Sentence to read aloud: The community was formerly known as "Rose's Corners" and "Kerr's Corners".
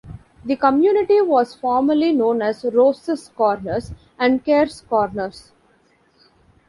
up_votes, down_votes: 2, 0